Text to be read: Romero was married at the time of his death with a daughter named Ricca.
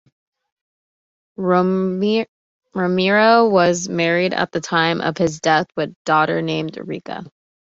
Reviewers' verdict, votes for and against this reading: rejected, 0, 2